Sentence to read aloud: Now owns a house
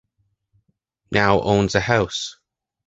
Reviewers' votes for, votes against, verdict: 2, 0, accepted